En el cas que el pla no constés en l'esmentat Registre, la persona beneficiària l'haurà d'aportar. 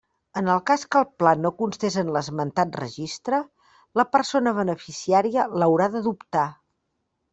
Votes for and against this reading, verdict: 0, 2, rejected